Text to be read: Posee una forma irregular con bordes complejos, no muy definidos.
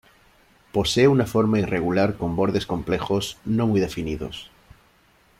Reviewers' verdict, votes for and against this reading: accepted, 2, 0